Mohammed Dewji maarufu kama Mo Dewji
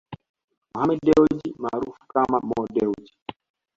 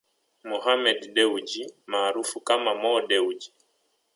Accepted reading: first